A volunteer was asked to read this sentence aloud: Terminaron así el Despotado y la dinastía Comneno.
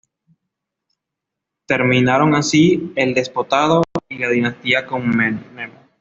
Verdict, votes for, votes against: accepted, 2, 0